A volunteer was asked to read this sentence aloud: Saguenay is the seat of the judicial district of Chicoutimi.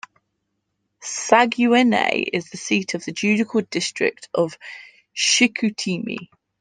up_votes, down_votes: 2, 1